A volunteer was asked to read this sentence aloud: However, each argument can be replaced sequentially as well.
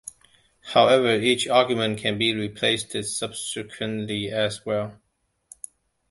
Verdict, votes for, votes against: rejected, 0, 2